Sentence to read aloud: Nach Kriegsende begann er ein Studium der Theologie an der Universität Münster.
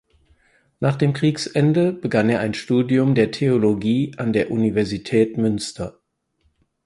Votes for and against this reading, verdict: 2, 4, rejected